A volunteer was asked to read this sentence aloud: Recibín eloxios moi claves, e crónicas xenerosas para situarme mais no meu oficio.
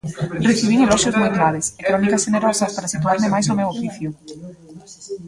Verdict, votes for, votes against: rejected, 0, 2